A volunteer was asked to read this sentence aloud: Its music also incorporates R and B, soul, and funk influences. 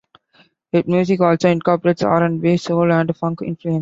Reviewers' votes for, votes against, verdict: 0, 2, rejected